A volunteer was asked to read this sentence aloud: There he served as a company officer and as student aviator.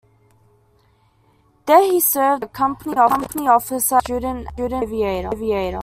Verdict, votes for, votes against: rejected, 0, 2